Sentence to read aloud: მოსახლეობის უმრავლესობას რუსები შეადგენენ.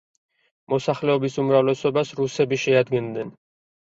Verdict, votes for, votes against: rejected, 2, 4